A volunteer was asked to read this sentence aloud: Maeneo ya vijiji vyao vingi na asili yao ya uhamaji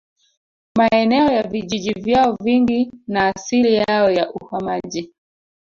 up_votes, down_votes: 1, 2